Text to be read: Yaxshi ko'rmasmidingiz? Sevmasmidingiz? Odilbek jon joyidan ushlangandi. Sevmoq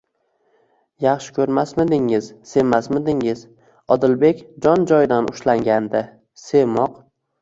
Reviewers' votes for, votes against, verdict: 2, 0, accepted